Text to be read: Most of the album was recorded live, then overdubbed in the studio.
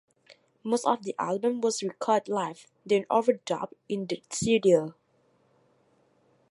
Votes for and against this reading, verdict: 1, 2, rejected